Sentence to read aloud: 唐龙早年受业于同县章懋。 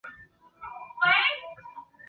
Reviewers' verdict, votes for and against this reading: rejected, 0, 2